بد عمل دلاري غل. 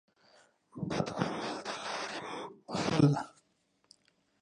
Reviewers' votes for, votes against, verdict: 0, 2, rejected